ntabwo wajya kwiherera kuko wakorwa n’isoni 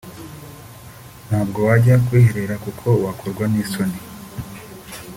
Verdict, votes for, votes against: accepted, 2, 0